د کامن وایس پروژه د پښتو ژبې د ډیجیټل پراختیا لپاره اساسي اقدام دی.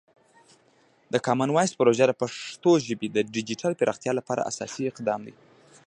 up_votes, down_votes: 0, 2